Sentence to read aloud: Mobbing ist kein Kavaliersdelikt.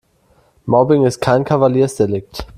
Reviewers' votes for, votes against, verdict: 2, 0, accepted